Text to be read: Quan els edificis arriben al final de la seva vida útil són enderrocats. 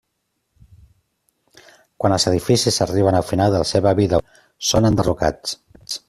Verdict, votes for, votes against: rejected, 0, 2